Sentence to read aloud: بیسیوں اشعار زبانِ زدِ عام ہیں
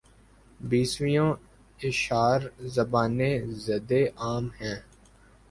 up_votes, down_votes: 1, 2